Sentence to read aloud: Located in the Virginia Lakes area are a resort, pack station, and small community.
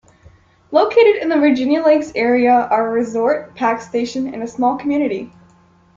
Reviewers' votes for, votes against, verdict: 2, 1, accepted